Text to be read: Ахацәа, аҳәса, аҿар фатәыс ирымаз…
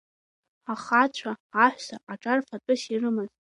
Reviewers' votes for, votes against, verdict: 2, 1, accepted